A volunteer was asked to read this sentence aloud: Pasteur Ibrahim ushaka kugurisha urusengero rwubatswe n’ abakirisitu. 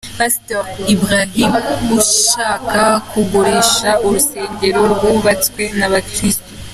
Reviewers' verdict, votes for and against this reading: accepted, 2, 0